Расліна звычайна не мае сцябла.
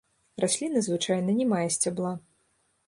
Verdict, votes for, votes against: accepted, 2, 0